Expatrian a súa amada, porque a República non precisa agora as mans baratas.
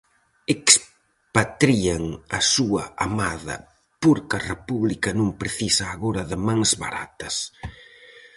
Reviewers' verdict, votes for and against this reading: rejected, 0, 4